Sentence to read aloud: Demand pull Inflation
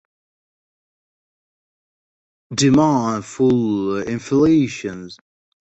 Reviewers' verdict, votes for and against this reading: rejected, 0, 14